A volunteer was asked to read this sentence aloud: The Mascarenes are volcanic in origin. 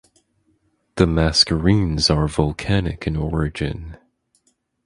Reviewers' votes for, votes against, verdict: 4, 2, accepted